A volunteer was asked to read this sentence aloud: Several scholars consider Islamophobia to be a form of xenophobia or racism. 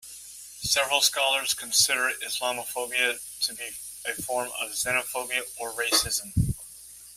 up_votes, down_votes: 2, 0